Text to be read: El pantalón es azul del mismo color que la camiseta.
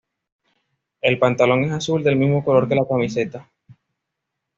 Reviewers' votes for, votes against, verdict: 2, 0, accepted